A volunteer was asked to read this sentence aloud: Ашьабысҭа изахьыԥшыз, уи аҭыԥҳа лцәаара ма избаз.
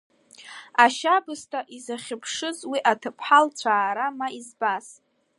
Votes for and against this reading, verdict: 2, 1, accepted